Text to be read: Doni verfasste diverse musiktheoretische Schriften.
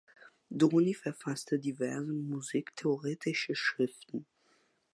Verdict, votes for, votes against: accepted, 2, 1